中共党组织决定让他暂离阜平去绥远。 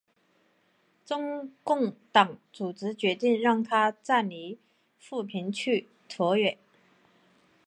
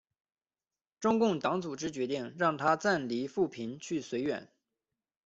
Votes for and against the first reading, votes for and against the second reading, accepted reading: 0, 2, 2, 0, second